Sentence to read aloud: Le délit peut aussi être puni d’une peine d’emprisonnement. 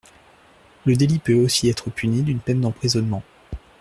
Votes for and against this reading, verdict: 2, 0, accepted